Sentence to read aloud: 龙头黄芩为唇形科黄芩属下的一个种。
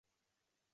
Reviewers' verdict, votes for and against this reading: rejected, 0, 2